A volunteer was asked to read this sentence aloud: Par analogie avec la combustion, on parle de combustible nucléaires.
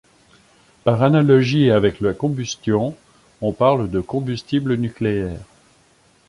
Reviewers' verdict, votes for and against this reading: accepted, 2, 0